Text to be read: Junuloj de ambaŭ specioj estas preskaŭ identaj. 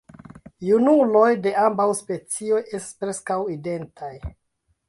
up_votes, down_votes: 0, 2